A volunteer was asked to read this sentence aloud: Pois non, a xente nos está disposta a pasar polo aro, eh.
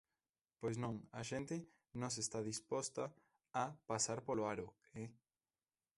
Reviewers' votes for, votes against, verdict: 0, 2, rejected